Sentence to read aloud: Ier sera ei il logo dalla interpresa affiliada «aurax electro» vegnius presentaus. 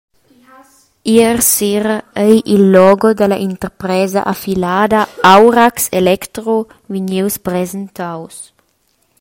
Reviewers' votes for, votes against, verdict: 0, 2, rejected